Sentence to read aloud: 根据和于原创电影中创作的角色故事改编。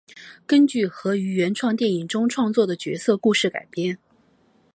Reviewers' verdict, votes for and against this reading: accepted, 2, 0